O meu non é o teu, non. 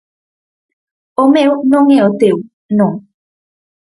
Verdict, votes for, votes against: accepted, 4, 0